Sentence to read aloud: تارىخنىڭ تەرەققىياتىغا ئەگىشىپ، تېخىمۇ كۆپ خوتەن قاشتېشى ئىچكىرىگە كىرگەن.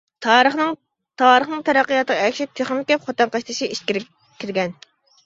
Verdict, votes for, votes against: rejected, 0, 2